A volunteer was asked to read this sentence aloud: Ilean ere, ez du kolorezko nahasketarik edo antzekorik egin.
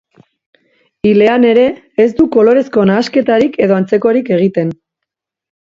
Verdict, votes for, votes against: rejected, 0, 2